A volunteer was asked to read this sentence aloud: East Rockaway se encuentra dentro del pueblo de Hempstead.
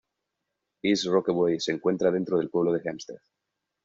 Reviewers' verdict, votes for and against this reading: accepted, 2, 1